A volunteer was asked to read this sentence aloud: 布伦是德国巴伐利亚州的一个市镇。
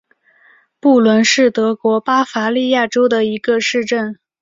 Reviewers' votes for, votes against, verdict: 2, 0, accepted